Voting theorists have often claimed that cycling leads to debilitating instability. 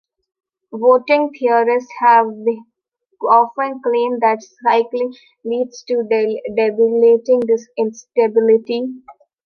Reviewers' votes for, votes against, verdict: 0, 2, rejected